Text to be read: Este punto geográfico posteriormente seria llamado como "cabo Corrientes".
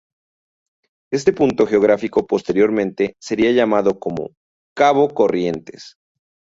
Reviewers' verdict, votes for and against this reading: accepted, 4, 0